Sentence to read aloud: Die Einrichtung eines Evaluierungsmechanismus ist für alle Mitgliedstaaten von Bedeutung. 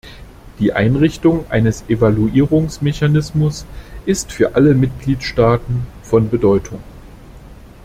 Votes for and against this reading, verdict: 2, 0, accepted